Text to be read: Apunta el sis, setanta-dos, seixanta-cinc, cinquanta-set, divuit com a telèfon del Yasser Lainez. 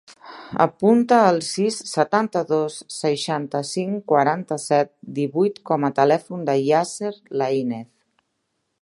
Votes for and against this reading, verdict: 0, 2, rejected